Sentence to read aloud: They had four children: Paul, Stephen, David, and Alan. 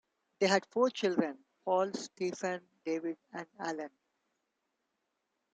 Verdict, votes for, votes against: accepted, 2, 0